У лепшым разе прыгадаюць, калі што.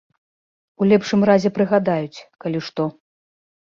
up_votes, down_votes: 2, 0